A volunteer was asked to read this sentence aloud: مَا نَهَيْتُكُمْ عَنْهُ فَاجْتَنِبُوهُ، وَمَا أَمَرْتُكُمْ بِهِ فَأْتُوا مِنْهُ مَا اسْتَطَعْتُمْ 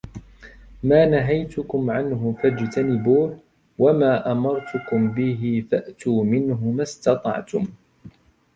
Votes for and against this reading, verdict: 1, 2, rejected